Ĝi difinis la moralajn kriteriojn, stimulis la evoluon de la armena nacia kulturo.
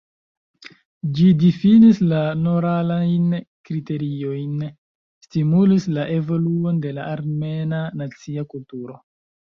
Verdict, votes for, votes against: rejected, 1, 2